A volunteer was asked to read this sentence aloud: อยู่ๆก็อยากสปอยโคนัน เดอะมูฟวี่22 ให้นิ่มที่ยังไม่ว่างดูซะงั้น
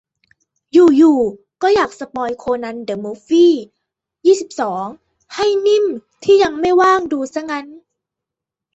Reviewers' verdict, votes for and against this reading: rejected, 0, 2